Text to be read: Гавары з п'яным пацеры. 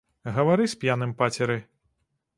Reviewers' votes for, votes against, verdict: 2, 0, accepted